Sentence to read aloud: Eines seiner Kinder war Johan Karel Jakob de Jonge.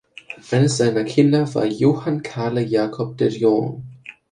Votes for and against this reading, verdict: 0, 2, rejected